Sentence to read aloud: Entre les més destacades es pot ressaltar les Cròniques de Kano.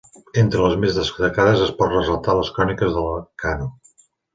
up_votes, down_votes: 0, 2